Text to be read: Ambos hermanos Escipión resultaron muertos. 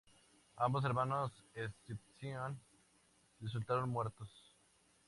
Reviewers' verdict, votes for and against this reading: rejected, 0, 2